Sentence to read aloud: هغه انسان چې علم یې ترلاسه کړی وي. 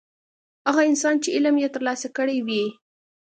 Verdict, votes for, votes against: accepted, 2, 0